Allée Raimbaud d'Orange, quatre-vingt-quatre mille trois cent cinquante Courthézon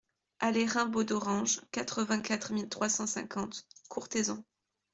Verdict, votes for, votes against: accepted, 2, 0